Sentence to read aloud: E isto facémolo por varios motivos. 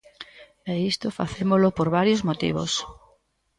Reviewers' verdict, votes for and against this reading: rejected, 1, 2